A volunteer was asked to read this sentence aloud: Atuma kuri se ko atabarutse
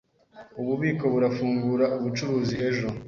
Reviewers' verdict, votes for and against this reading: rejected, 1, 2